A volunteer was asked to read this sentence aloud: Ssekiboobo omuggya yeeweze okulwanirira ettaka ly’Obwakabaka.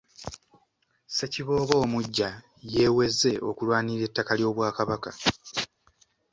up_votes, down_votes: 2, 0